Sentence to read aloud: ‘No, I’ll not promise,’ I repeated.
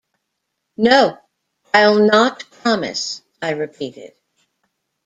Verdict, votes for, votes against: accepted, 2, 0